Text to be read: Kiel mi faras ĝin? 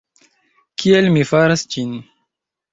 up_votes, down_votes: 3, 1